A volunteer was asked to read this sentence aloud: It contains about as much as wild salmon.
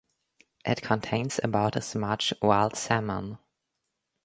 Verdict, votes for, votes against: rejected, 0, 2